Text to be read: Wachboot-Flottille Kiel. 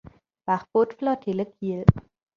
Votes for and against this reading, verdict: 2, 0, accepted